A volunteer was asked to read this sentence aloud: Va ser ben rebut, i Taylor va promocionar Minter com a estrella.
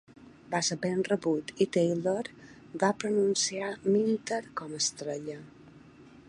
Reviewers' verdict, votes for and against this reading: rejected, 0, 3